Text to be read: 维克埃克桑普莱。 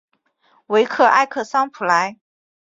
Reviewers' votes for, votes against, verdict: 3, 1, accepted